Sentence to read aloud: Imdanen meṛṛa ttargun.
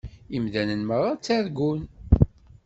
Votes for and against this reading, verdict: 2, 0, accepted